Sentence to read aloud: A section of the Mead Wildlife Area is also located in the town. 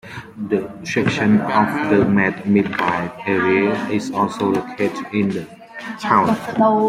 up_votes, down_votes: 0, 2